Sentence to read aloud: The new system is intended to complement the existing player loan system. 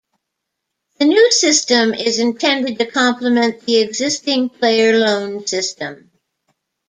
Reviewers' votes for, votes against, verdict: 2, 0, accepted